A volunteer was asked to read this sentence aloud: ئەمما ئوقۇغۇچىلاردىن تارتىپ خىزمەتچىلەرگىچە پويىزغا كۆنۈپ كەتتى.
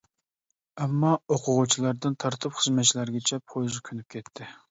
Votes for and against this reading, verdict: 1, 2, rejected